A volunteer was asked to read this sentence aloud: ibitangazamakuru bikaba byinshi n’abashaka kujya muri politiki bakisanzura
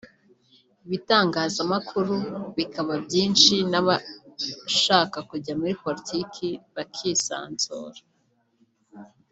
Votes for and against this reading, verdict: 2, 0, accepted